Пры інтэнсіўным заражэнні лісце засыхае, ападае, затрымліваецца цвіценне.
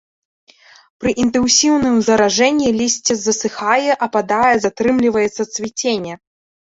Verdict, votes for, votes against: rejected, 1, 2